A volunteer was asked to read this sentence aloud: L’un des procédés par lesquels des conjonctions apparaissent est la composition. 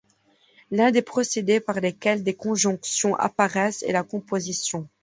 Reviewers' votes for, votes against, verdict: 2, 0, accepted